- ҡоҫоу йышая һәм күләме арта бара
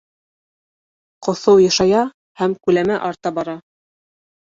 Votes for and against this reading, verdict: 0, 2, rejected